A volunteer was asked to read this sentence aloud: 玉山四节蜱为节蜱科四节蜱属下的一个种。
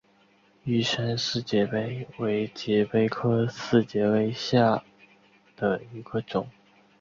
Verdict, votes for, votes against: rejected, 1, 2